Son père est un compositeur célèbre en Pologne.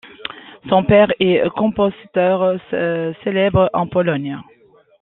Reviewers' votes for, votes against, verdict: 0, 2, rejected